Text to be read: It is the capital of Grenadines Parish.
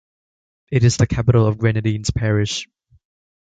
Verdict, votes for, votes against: accepted, 2, 0